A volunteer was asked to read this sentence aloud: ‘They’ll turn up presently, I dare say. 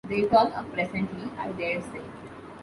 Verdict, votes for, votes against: rejected, 1, 2